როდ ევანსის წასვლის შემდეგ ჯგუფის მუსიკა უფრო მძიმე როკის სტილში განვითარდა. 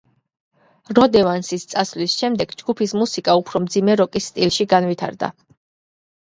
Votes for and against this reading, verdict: 1, 2, rejected